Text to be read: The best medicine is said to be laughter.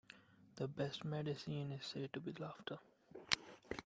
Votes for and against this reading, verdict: 2, 0, accepted